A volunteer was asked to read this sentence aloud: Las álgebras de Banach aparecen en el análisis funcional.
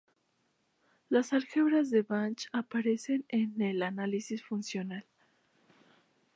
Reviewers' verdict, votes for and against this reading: rejected, 0, 2